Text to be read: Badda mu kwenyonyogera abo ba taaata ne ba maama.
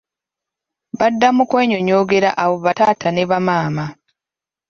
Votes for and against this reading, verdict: 2, 0, accepted